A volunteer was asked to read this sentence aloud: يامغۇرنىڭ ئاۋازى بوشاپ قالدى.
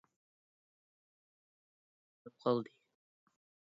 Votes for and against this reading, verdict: 0, 2, rejected